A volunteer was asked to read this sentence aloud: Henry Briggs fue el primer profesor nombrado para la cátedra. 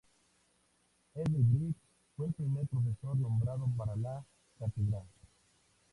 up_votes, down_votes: 2, 0